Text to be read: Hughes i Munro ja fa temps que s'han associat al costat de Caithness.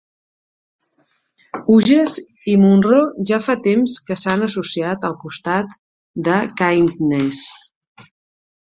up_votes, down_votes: 1, 2